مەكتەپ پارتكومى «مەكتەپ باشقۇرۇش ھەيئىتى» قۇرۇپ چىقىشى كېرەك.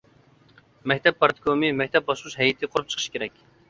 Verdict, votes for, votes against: accepted, 2, 1